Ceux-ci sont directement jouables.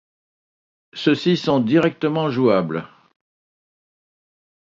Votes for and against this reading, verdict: 2, 0, accepted